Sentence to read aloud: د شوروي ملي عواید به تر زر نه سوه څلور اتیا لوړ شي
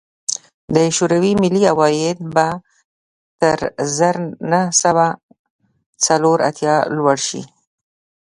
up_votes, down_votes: 1, 2